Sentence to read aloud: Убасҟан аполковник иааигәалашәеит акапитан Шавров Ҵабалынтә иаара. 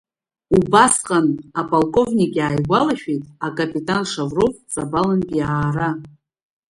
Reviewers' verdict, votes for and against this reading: accepted, 2, 1